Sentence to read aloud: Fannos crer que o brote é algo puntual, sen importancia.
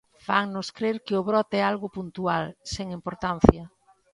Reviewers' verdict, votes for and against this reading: accepted, 2, 0